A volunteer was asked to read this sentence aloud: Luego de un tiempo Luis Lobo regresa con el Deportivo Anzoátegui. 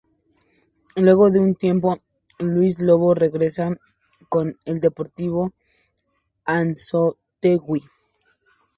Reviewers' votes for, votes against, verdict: 0, 2, rejected